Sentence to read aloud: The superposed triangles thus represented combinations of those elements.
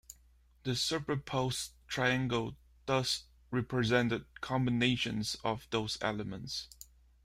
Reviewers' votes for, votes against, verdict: 2, 0, accepted